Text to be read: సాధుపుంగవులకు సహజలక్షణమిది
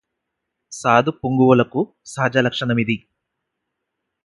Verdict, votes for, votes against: accepted, 4, 0